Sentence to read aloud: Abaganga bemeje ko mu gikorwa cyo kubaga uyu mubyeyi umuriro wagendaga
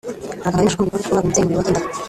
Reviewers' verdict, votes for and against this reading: rejected, 0, 2